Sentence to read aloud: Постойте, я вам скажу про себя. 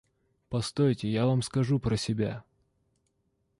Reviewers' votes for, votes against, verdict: 2, 0, accepted